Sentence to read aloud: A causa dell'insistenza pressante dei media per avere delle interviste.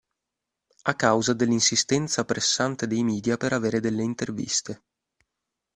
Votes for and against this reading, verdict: 2, 0, accepted